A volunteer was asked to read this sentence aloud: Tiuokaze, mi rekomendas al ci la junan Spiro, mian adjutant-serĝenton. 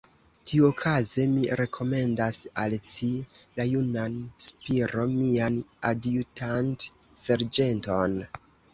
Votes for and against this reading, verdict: 2, 1, accepted